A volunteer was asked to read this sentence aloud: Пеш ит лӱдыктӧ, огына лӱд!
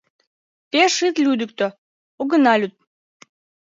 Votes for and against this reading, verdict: 1, 2, rejected